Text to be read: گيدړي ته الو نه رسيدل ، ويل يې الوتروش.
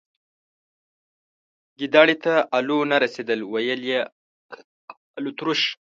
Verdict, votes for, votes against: rejected, 1, 2